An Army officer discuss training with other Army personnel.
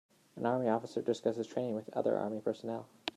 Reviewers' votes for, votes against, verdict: 1, 2, rejected